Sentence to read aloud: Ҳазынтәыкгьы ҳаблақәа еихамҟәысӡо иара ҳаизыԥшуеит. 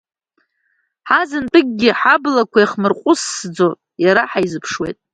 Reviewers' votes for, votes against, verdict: 0, 2, rejected